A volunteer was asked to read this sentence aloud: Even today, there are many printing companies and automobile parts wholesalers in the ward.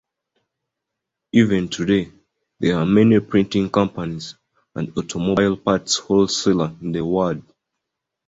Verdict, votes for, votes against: rejected, 1, 2